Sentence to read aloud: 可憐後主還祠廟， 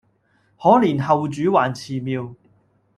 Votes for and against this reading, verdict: 1, 2, rejected